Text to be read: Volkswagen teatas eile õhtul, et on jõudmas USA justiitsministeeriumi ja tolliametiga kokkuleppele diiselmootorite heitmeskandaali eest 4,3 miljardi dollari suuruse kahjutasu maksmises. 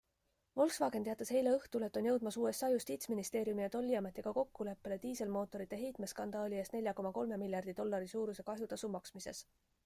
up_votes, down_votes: 0, 2